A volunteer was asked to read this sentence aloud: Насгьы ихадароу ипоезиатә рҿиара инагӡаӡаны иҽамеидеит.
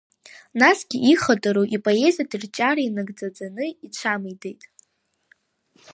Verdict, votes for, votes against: rejected, 1, 2